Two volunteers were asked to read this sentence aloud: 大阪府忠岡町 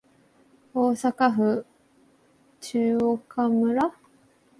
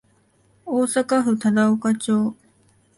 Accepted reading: second